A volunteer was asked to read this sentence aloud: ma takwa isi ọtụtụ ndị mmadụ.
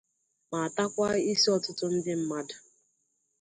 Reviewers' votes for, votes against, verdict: 2, 0, accepted